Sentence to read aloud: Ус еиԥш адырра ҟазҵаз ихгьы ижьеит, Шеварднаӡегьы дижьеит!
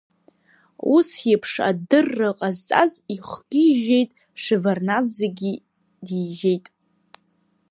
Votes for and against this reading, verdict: 2, 0, accepted